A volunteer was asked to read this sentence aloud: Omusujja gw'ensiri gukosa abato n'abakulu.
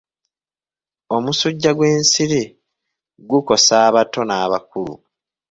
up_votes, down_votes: 2, 0